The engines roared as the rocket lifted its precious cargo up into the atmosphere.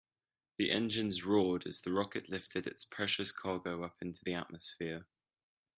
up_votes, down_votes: 3, 0